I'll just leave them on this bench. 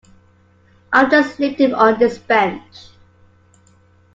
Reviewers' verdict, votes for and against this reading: accepted, 2, 1